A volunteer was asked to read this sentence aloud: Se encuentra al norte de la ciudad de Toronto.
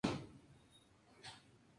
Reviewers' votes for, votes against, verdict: 0, 2, rejected